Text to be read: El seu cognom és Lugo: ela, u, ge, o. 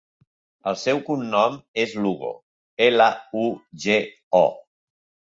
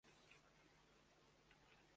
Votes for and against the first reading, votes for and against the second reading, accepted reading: 2, 0, 0, 2, first